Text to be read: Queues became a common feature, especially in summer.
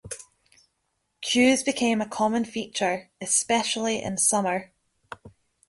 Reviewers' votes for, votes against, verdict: 2, 0, accepted